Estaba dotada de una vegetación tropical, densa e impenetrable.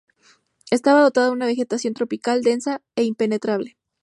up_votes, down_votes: 2, 0